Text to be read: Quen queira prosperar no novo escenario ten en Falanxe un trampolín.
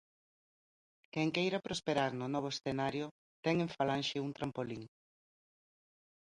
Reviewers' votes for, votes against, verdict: 2, 0, accepted